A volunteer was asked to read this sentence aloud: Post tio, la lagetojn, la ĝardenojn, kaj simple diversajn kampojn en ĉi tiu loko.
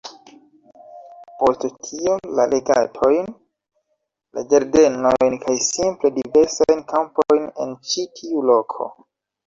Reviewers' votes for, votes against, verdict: 0, 2, rejected